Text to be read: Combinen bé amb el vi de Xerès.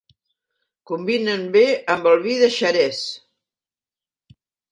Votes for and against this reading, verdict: 3, 0, accepted